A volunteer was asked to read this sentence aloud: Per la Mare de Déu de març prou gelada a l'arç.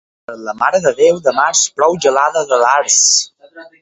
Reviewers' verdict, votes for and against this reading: rejected, 2, 4